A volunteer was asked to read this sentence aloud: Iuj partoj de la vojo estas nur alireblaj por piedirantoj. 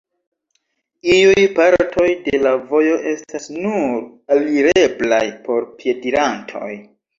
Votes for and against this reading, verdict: 2, 1, accepted